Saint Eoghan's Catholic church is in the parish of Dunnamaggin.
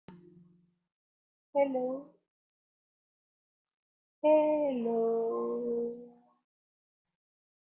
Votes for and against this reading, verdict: 1, 2, rejected